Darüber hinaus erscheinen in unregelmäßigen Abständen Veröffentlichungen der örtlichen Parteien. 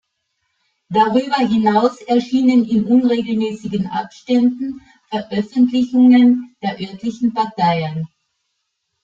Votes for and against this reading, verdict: 2, 1, accepted